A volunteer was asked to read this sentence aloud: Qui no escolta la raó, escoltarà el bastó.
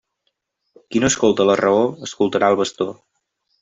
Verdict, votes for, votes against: accepted, 3, 1